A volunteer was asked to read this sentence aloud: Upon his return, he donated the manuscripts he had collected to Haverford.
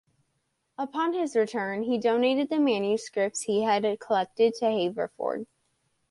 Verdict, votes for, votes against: accepted, 2, 0